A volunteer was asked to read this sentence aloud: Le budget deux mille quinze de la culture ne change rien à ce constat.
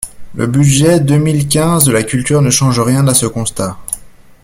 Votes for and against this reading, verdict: 2, 0, accepted